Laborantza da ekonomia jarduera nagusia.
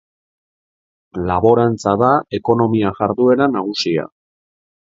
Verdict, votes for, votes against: accepted, 3, 0